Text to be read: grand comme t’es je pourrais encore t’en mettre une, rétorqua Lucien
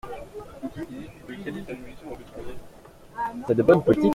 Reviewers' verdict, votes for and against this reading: rejected, 0, 2